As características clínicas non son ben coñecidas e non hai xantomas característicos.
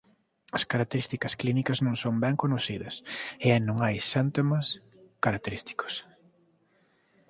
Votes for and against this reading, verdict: 1, 2, rejected